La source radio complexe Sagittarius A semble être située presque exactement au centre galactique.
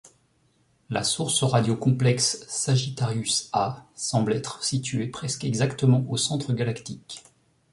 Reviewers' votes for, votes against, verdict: 2, 0, accepted